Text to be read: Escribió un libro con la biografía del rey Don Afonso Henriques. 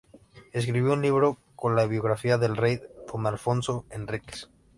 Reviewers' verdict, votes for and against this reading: accepted, 2, 0